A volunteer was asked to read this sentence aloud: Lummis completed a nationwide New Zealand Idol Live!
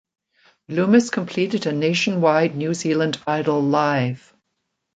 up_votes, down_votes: 2, 0